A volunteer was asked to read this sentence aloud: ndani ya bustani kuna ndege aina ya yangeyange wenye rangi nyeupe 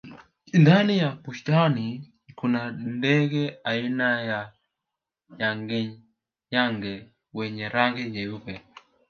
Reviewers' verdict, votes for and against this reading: rejected, 1, 2